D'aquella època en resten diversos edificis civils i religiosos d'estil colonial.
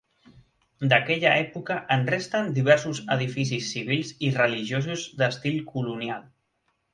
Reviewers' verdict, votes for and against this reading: accepted, 3, 0